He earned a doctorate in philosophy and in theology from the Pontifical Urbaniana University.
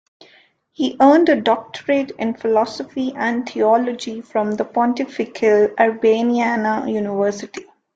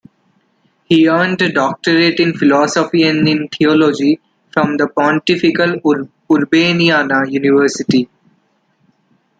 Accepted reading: first